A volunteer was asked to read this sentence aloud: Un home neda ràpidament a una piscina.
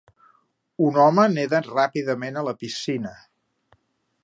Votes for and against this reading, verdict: 0, 3, rejected